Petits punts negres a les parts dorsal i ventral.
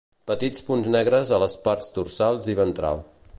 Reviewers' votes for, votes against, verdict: 1, 2, rejected